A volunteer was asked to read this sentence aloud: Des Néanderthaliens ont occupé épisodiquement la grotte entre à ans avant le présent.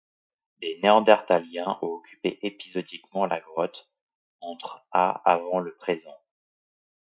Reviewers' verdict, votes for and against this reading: rejected, 1, 2